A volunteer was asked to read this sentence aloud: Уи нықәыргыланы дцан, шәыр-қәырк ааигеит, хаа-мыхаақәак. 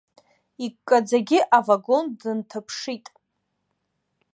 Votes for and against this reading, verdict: 1, 2, rejected